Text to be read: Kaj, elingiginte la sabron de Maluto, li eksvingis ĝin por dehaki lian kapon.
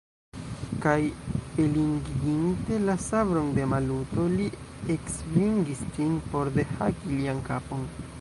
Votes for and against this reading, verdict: 1, 2, rejected